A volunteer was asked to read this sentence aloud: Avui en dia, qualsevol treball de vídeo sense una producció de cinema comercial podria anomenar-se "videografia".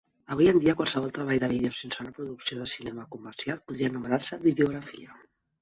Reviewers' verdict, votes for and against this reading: rejected, 1, 2